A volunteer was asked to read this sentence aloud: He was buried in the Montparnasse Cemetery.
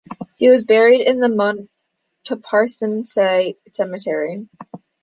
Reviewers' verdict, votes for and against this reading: rejected, 0, 2